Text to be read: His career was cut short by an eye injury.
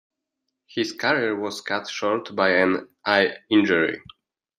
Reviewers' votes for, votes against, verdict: 2, 0, accepted